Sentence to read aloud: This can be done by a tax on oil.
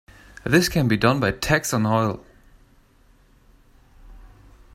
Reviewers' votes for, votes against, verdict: 1, 2, rejected